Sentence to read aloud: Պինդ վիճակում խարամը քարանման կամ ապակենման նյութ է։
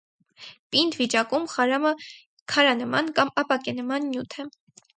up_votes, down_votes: 4, 0